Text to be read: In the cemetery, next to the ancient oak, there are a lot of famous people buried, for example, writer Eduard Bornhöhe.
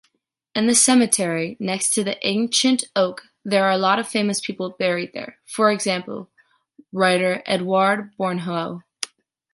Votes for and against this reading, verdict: 1, 2, rejected